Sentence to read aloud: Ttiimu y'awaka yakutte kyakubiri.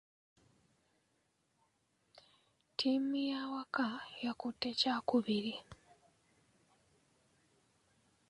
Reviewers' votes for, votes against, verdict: 2, 0, accepted